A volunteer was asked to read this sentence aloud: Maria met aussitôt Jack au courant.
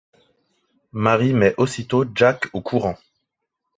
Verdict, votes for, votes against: rejected, 0, 2